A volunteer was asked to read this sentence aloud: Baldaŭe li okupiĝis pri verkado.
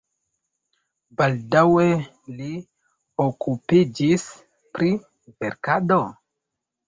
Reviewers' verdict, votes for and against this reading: rejected, 1, 2